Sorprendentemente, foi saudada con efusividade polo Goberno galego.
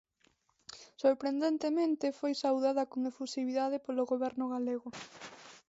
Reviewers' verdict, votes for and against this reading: accepted, 2, 1